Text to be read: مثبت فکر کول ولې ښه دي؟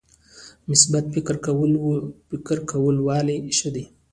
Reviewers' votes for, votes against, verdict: 0, 2, rejected